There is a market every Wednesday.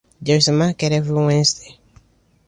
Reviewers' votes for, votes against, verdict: 2, 0, accepted